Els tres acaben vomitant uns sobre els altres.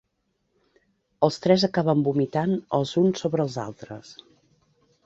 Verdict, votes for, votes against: rejected, 0, 2